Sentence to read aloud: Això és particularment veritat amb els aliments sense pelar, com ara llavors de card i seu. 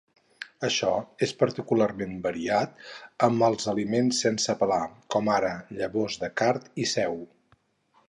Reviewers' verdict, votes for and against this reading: rejected, 0, 4